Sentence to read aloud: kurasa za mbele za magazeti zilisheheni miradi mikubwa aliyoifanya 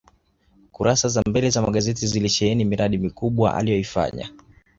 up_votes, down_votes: 2, 0